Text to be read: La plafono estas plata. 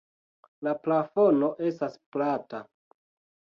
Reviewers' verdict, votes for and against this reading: accepted, 2, 0